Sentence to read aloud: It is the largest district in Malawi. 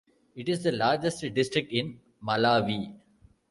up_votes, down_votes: 2, 1